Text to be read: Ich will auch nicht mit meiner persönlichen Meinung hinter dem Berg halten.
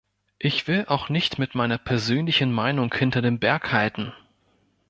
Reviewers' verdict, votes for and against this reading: accepted, 2, 0